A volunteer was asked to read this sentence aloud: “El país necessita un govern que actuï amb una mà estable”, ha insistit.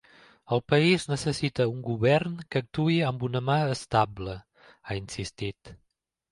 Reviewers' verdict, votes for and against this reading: accepted, 2, 0